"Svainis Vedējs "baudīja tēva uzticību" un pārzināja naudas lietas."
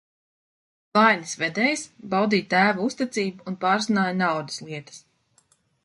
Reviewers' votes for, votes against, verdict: 0, 2, rejected